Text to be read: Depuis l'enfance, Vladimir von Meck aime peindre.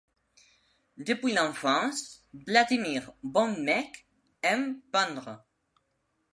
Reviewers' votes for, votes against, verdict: 2, 0, accepted